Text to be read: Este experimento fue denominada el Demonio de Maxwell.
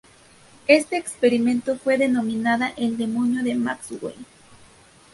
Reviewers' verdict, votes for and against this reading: accepted, 2, 0